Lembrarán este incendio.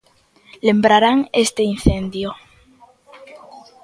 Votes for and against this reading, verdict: 2, 1, accepted